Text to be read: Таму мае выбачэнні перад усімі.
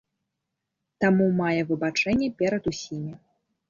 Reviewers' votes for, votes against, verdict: 0, 2, rejected